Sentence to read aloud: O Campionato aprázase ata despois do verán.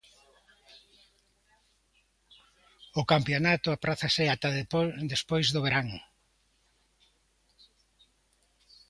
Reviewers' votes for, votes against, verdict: 0, 2, rejected